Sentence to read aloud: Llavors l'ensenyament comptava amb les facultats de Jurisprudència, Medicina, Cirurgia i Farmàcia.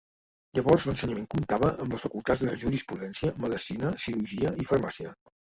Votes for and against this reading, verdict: 1, 2, rejected